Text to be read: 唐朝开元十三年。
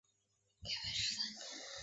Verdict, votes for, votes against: rejected, 0, 3